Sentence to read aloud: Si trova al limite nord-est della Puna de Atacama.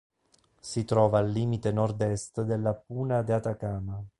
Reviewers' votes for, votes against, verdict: 2, 0, accepted